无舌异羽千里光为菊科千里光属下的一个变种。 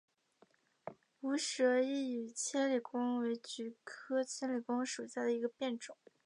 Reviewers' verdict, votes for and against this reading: rejected, 0, 2